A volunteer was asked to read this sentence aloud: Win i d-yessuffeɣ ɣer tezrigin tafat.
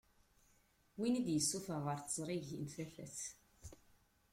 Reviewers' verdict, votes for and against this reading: rejected, 1, 2